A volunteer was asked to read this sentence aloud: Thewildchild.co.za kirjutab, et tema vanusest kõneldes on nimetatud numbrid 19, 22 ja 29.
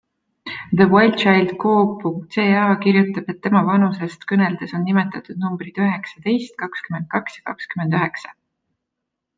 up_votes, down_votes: 0, 2